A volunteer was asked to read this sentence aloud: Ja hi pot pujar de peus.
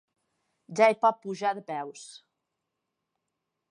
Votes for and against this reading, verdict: 4, 0, accepted